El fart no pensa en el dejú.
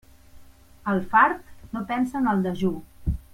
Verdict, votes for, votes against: accepted, 3, 0